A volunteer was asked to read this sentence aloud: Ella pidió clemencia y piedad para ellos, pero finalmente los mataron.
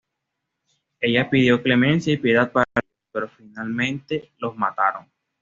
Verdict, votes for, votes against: rejected, 1, 2